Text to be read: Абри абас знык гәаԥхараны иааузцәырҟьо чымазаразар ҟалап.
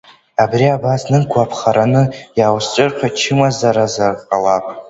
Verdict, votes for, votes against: accepted, 2, 0